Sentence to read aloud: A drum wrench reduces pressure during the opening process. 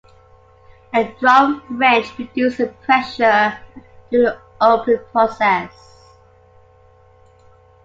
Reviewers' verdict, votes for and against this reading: rejected, 1, 2